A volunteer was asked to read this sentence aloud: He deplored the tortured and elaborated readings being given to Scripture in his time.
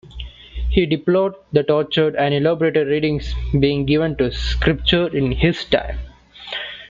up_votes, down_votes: 2, 0